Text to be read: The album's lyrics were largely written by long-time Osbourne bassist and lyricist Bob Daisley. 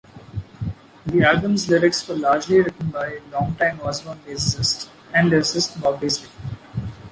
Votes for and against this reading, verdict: 0, 2, rejected